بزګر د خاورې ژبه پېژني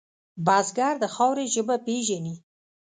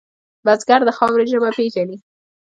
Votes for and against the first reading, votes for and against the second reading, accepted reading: 0, 2, 2, 1, second